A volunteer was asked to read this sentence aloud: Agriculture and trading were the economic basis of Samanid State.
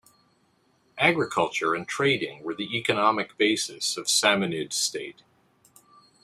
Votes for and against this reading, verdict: 2, 0, accepted